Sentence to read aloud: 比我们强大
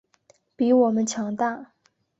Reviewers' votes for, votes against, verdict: 5, 0, accepted